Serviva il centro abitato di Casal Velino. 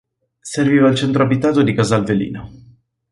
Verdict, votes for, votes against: accepted, 4, 0